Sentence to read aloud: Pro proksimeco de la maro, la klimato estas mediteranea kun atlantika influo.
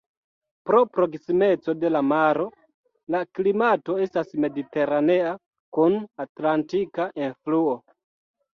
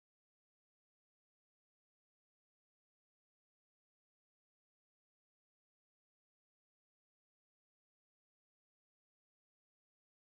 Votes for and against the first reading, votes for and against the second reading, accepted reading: 0, 2, 2, 1, second